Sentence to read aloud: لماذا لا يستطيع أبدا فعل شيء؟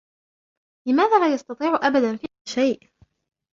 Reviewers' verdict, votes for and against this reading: accepted, 2, 1